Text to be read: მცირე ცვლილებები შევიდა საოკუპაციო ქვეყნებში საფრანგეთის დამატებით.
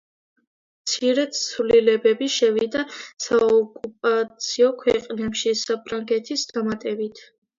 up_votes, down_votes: 1, 2